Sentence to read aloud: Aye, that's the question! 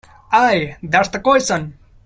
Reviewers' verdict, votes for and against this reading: rejected, 1, 2